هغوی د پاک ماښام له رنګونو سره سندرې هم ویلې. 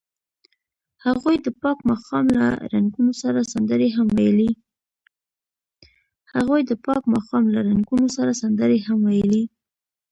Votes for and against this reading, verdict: 0, 2, rejected